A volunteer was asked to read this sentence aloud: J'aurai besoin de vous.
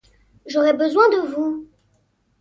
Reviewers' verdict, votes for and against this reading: accepted, 2, 0